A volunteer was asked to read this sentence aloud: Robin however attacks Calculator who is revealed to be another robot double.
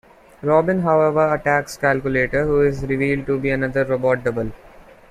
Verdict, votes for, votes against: accepted, 2, 1